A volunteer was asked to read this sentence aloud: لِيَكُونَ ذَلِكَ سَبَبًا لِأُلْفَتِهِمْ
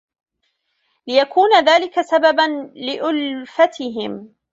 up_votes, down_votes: 1, 2